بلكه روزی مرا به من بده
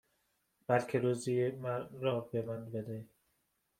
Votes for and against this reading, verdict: 0, 2, rejected